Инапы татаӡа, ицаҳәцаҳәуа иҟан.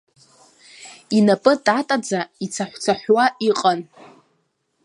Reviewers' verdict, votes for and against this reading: rejected, 0, 2